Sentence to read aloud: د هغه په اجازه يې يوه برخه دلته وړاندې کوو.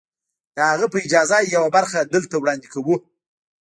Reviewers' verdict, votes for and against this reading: rejected, 1, 2